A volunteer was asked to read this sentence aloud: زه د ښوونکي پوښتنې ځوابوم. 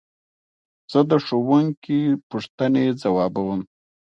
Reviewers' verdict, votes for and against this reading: accepted, 2, 0